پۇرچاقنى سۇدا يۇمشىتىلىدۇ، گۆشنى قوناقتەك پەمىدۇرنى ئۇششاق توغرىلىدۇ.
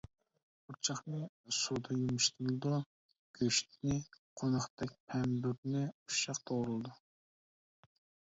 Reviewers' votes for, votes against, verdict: 1, 2, rejected